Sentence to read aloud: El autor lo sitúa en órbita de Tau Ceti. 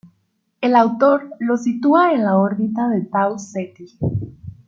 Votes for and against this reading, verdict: 1, 2, rejected